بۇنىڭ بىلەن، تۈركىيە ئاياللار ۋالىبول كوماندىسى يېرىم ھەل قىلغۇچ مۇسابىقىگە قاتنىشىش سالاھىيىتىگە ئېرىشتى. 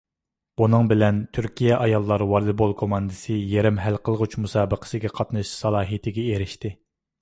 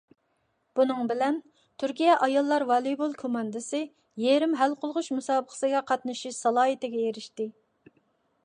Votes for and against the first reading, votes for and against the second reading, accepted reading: 2, 0, 1, 2, first